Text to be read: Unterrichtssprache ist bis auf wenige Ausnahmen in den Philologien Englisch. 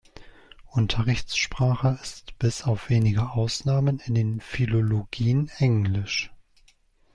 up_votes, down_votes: 2, 1